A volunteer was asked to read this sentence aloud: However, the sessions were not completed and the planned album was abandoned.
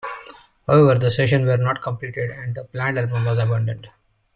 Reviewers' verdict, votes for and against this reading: rejected, 0, 2